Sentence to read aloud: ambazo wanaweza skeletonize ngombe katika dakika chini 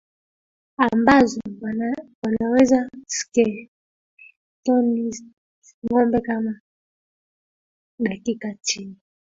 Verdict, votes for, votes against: rejected, 0, 2